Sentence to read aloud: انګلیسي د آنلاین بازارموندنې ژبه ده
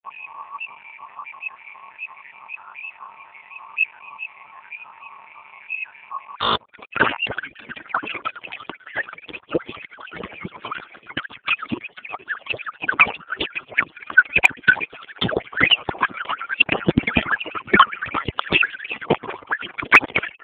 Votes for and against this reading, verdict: 0, 2, rejected